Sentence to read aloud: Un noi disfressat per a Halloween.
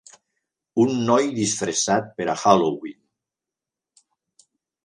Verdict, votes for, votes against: accepted, 3, 0